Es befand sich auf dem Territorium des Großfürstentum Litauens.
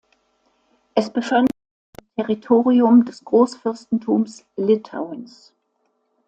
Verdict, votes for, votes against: rejected, 0, 2